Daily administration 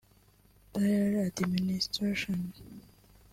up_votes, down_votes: 0, 2